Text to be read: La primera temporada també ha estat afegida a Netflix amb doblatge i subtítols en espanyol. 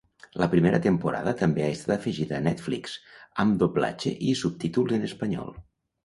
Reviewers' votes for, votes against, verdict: 1, 2, rejected